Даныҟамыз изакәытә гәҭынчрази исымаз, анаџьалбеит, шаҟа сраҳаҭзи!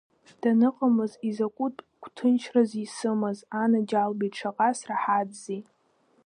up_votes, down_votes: 2, 0